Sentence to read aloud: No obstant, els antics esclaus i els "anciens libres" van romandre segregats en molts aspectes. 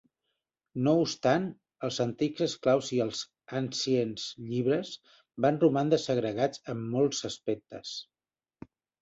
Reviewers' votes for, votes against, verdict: 1, 2, rejected